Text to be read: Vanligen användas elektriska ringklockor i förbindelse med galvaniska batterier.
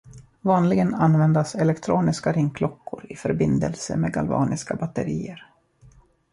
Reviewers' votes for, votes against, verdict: 0, 2, rejected